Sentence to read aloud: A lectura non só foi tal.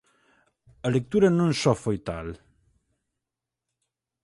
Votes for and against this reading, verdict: 4, 0, accepted